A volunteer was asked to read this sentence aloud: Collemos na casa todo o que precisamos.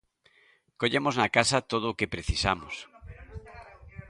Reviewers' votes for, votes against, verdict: 1, 2, rejected